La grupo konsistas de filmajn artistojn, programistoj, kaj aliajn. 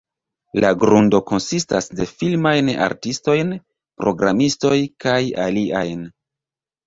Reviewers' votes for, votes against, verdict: 0, 2, rejected